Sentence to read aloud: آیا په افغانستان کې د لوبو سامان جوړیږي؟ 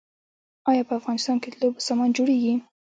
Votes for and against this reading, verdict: 0, 2, rejected